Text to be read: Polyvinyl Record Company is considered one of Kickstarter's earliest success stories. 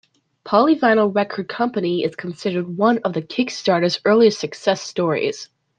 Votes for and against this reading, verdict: 1, 2, rejected